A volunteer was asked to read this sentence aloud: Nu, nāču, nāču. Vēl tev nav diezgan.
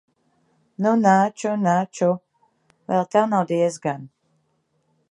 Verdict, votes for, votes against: accepted, 2, 0